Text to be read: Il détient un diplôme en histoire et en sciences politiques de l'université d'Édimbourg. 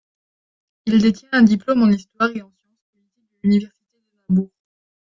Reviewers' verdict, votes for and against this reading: rejected, 0, 2